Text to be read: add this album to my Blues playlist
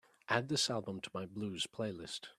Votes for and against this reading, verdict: 3, 0, accepted